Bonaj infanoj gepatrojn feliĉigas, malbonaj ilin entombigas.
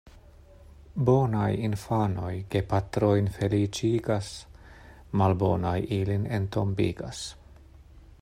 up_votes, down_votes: 2, 0